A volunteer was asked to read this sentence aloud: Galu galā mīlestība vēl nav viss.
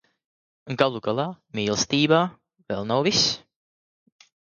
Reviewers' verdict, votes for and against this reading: rejected, 0, 2